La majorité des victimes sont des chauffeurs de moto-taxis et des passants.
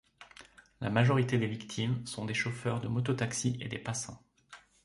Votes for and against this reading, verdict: 2, 0, accepted